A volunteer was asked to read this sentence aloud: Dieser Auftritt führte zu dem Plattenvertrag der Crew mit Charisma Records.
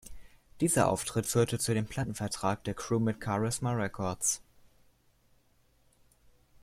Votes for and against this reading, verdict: 2, 0, accepted